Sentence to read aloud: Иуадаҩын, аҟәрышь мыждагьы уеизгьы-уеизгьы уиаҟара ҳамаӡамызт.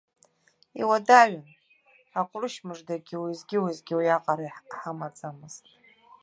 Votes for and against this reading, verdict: 0, 2, rejected